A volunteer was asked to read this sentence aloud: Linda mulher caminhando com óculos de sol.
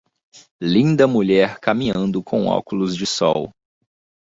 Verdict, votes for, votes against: accepted, 2, 0